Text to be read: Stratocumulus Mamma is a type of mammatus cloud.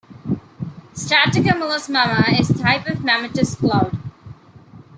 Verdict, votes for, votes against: accepted, 2, 0